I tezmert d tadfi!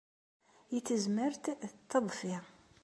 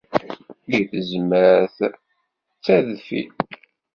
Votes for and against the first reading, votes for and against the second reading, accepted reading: 2, 0, 0, 2, first